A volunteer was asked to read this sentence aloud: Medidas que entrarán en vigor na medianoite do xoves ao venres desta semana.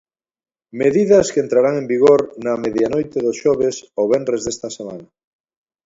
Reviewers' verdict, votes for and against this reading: accepted, 2, 0